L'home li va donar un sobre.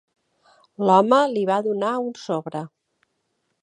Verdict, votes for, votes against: accepted, 2, 0